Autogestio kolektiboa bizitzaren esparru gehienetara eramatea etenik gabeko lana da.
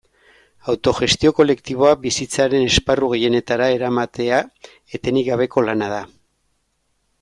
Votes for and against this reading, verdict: 2, 0, accepted